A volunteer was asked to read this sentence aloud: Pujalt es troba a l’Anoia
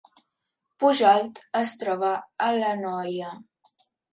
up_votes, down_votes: 3, 0